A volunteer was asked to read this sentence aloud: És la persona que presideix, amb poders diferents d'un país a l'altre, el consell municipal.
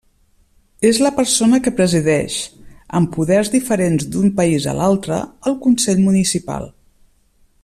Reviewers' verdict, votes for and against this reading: accepted, 3, 0